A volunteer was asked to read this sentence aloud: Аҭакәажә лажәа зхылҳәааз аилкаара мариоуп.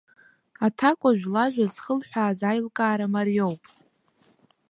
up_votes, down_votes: 2, 0